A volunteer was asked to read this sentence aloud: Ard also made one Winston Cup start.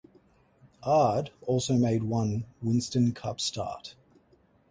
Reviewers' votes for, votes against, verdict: 2, 2, rejected